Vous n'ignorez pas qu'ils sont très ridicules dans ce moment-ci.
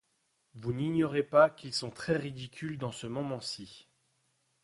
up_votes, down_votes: 2, 0